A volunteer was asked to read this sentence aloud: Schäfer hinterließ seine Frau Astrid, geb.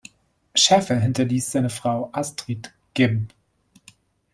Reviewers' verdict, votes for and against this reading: rejected, 1, 2